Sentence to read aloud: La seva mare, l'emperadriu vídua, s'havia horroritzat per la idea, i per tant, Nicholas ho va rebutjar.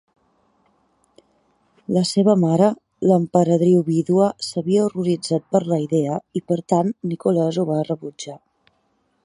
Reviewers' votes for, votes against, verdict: 2, 0, accepted